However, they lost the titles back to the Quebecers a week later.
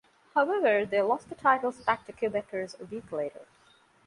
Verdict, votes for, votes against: accepted, 2, 1